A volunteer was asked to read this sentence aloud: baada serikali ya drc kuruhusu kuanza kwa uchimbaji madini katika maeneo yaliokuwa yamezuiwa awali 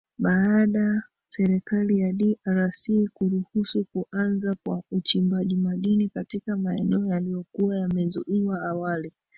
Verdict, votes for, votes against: rejected, 0, 2